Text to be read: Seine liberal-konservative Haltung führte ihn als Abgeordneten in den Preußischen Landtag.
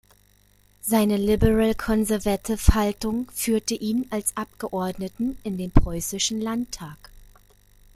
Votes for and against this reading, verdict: 0, 2, rejected